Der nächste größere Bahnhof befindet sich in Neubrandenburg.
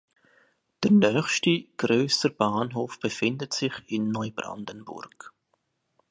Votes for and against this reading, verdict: 2, 1, accepted